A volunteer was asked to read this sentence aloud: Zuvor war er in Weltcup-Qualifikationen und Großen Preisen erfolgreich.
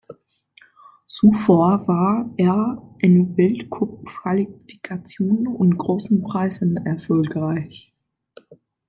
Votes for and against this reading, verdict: 0, 2, rejected